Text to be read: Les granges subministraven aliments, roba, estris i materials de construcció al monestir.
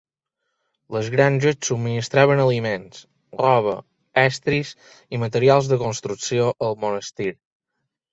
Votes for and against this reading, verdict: 2, 0, accepted